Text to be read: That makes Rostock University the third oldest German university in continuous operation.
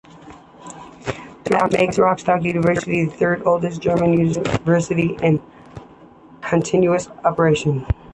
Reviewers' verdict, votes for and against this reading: accepted, 2, 0